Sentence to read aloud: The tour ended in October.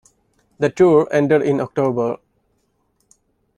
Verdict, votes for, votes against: accepted, 2, 0